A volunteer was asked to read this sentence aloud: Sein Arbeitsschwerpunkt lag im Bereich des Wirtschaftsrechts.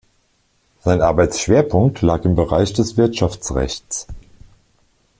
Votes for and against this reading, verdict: 2, 0, accepted